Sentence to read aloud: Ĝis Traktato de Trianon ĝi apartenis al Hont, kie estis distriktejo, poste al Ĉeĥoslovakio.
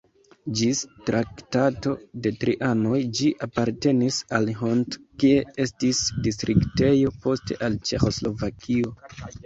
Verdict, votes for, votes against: rejected, 1, 2